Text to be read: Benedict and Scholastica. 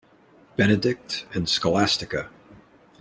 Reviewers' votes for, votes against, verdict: 2, 0, accepted